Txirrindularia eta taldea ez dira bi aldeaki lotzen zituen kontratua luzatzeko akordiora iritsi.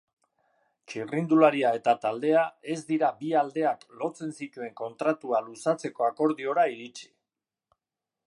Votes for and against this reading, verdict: 0, 2, rejected